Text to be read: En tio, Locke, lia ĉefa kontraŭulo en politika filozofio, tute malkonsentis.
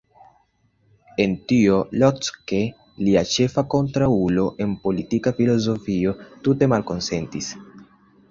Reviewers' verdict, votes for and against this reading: accepted, 2, 0